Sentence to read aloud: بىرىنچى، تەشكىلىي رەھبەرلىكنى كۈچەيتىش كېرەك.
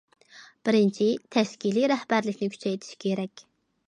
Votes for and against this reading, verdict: 1, 2, rejected